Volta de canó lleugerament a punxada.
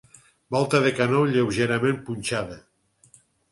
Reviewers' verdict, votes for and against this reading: rejected, 0, 6